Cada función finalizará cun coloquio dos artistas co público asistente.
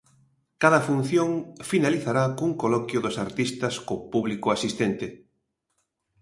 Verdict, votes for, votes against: accepted, 2, 0